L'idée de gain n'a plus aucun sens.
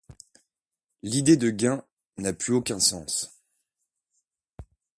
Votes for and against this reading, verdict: 2, 0, accepted